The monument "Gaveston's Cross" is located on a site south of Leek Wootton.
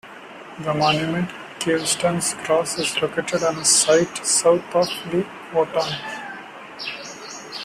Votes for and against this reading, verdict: 2, 0, accepted